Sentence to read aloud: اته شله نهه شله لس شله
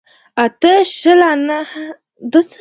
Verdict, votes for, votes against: rejected, 1, 2